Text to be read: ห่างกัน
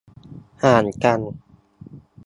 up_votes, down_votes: 2, 0